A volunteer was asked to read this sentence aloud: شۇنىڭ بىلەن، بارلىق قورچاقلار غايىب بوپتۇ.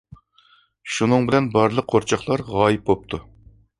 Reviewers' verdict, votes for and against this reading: accepted, 2, 0